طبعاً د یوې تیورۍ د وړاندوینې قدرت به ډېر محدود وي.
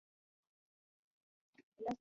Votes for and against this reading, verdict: 1, 2, rejected